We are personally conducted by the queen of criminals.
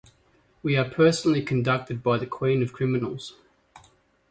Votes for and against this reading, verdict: 2, 0, accepted